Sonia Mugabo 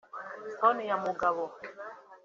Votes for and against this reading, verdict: 2, 0, accepted